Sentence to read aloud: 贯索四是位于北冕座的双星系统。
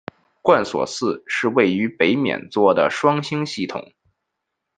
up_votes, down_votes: 1, 2